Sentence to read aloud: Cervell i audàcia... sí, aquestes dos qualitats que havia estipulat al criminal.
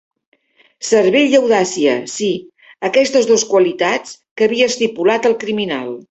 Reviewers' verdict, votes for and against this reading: accepted, 2, 0